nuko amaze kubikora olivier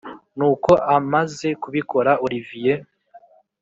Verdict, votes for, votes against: accepted, 2, 0